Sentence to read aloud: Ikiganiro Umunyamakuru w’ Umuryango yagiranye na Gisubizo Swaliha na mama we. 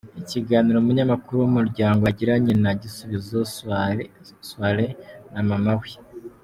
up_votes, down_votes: 0, 3